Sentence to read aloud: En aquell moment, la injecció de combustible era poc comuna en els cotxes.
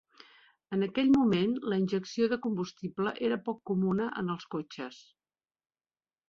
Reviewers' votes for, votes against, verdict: 3, 1, accepted